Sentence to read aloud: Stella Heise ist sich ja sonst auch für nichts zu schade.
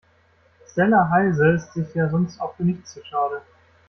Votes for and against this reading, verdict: 1, 2, rejected